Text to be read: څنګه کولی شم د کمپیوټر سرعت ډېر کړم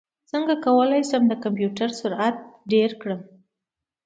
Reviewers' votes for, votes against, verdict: 2, 0, accepted